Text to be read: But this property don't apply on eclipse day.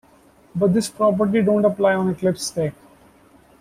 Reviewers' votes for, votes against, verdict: 1, 2, rejected